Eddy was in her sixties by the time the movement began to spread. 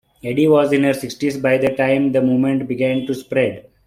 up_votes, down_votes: 2, 0